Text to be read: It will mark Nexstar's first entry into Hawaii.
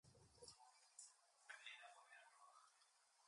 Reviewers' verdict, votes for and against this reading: rejected, 0, 2